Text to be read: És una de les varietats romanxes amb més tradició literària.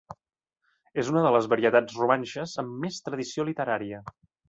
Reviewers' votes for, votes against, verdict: 2, 0, accepted